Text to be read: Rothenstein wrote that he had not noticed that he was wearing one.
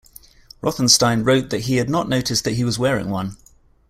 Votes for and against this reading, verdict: 2, 0, accepted